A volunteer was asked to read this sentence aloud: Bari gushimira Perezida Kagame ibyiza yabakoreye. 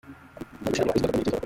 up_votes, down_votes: 0, 2